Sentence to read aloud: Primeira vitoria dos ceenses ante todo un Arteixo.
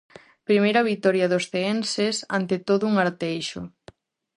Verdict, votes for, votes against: accepted, 4, 0